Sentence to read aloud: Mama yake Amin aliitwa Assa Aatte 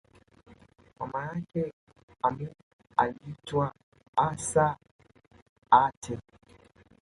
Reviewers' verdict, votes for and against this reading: rejected, 1, 2